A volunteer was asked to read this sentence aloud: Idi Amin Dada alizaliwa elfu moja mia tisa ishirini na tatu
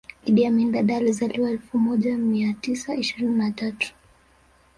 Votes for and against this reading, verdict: 3, 2, accepted